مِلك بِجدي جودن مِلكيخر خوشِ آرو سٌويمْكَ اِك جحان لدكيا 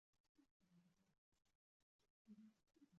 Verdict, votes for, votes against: rejected, 1, 2